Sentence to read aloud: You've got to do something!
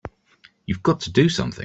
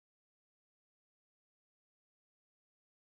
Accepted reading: first